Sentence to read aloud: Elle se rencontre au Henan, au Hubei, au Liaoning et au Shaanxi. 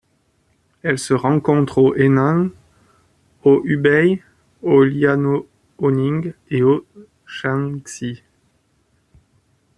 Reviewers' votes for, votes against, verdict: 2, 1, accepted